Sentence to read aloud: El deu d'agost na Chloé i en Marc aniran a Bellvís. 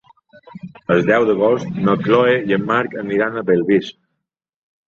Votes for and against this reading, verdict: 2, 0, accepted